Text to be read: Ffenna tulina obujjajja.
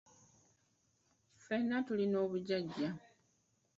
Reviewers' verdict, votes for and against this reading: rejected, 0, 2